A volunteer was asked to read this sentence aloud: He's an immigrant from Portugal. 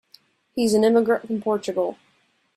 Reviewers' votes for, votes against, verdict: 2, 0, accepted